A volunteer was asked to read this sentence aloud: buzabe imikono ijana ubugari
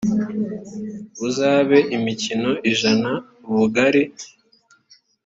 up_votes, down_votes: 0, 2